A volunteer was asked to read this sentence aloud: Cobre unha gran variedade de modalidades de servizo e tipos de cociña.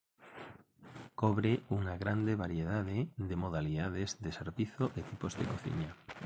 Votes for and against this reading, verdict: 1, 2, rejected